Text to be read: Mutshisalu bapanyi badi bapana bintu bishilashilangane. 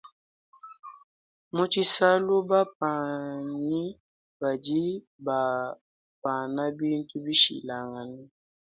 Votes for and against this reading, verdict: 2, 0, accepted